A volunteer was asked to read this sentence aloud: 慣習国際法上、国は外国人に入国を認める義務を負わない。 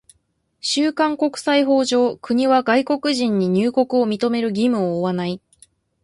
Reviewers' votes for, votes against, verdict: 1, 2, rejected